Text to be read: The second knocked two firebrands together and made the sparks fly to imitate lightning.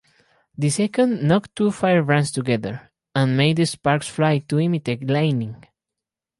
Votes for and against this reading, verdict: 4, 0, accepted